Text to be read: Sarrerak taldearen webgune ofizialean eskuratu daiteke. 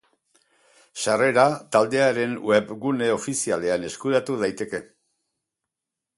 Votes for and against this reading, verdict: 0, 2, rejected